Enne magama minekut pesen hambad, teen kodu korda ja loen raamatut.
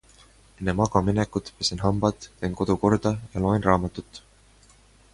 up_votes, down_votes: 2, 0